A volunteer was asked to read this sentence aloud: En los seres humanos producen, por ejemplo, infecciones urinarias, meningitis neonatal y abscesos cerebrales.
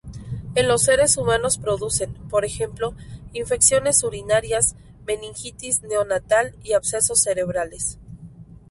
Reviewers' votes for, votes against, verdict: 4, 0, accepted